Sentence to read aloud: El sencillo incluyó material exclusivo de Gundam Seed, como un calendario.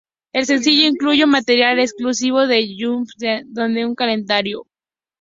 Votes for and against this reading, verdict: 0, 4, rejected